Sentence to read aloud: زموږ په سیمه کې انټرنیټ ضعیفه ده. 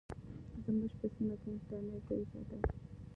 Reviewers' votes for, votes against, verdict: 0, 2, rejected